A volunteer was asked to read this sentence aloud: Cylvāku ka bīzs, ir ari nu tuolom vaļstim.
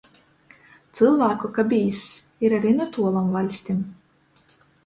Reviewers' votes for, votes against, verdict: 2, 0, accepted